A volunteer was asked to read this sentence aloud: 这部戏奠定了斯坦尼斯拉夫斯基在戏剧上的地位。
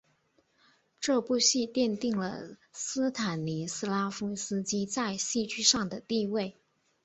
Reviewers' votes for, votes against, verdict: 3, 0, accepted